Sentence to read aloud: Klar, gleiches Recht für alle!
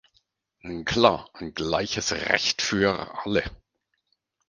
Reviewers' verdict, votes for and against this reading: rejected, 0, 4